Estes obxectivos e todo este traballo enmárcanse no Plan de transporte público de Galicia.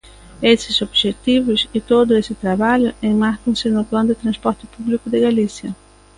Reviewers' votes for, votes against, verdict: 0, 2, rejected